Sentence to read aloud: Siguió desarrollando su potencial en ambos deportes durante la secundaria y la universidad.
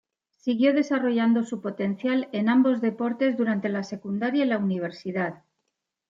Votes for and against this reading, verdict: 2, 0, accepted